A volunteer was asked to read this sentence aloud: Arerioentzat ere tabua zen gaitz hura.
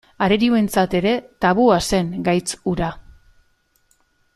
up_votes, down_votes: 2, 0